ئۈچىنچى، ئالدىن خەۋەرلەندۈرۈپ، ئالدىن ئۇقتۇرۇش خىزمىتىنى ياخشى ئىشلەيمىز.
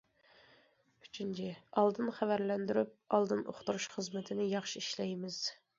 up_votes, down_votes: 2, 0